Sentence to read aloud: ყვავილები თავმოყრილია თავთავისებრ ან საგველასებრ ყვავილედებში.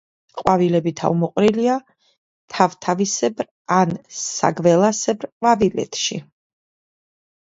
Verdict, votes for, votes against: rejected, 0, 2